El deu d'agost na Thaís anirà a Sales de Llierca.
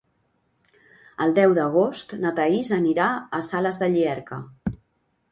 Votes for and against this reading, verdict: 2, 0, accepted